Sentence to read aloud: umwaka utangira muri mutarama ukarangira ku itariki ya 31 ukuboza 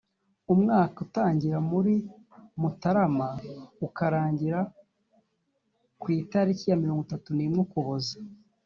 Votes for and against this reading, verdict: 0, 2, rejected